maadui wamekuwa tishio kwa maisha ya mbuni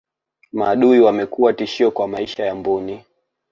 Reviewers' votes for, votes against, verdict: 1, 2, rejected